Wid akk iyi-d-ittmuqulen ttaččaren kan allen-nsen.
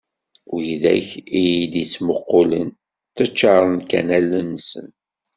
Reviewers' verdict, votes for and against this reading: accepted, 2, 0